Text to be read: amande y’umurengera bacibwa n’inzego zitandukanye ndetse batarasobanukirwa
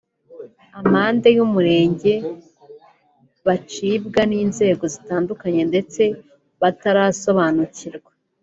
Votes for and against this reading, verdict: 1, 2, rejected